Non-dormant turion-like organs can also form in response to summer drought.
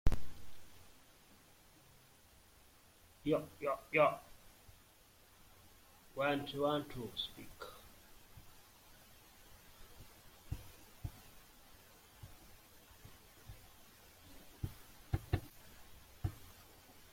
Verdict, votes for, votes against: rejected, 0, 2